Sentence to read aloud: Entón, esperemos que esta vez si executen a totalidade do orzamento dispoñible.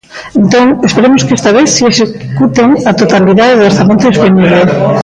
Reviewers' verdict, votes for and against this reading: rejected, 0, 2